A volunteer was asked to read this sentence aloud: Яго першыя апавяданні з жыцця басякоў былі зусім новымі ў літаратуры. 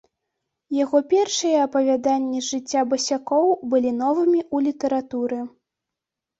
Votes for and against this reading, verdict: 1, 2, rejected